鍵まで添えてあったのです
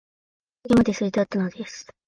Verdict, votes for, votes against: rejected, 1, 2